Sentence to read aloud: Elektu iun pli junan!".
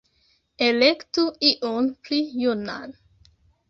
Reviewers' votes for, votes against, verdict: 2, 1, accepted